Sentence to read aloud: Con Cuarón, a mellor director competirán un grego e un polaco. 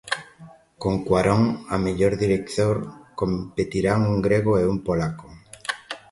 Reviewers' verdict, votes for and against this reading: accepted, 2, 0